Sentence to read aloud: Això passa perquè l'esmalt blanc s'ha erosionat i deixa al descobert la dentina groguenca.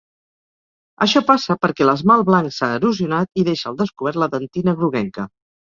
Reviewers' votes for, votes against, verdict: 2, 0, accepted